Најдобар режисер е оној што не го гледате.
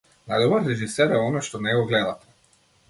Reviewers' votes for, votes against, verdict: 1, 2, rejected